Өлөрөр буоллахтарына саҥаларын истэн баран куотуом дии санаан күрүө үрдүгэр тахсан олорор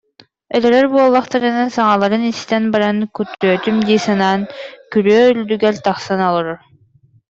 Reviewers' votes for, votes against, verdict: 0, 2, rejected